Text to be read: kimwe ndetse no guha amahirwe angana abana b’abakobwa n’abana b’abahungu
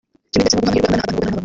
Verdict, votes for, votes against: rejected, 0, 2